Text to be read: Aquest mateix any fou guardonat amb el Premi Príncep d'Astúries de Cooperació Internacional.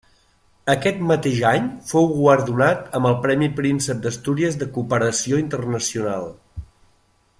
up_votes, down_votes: 2, 0